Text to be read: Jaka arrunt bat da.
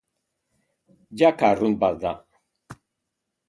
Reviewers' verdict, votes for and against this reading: accepted, 4, 0